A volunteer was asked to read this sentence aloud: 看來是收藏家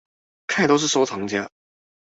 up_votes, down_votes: 0, 2